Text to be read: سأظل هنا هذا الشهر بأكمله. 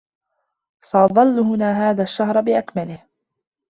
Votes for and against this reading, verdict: 1, 2, rejected